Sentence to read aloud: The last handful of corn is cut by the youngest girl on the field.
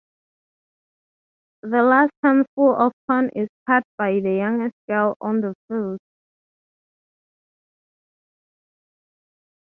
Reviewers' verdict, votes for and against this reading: rejected, 0, 6